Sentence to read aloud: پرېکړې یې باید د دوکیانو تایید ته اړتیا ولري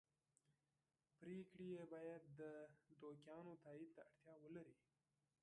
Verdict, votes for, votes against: rejected, 0, 2